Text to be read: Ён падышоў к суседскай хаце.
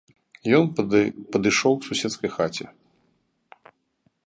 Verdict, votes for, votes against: rejected, 0, 2